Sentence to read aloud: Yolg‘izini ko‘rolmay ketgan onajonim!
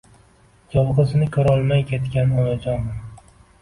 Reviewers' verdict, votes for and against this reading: accepted, 2, 1